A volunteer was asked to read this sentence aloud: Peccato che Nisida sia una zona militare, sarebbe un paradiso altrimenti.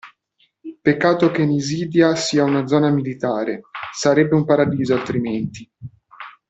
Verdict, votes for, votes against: accepted, 2, 0